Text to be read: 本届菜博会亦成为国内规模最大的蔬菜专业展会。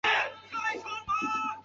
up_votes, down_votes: 0, 3